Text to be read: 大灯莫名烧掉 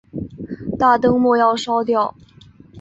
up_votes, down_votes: 1, 4